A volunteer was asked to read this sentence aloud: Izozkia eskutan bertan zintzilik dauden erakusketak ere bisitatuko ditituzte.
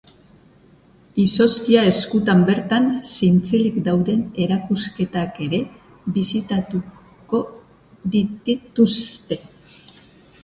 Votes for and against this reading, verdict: 0, 2, rejected